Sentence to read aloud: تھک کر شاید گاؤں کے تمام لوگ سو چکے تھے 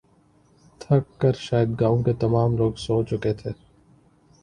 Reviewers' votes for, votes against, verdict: 2, 0, accepted